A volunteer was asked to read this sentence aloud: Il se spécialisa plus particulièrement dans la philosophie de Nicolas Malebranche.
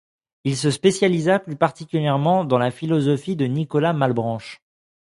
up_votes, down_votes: 2, 0